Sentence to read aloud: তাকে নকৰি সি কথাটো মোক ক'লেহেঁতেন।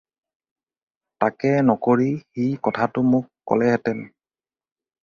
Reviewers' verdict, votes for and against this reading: rejected, 2, 2